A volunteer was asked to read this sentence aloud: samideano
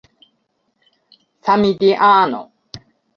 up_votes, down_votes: 1, 2